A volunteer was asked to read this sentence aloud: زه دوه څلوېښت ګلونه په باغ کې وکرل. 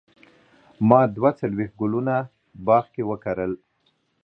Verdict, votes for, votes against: rejected, 3, 4